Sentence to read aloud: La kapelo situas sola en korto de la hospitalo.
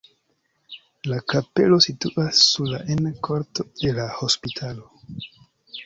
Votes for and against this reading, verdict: 2, 0, accepted